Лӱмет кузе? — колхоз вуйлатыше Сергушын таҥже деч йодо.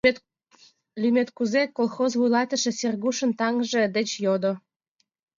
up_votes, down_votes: 2, 1